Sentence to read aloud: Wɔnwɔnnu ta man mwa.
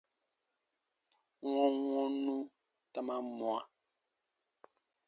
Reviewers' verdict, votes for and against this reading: accepted, 2, 0